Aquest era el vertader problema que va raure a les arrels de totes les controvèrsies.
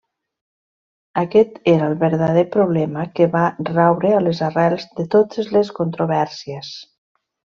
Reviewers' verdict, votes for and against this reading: rejected, 1, 2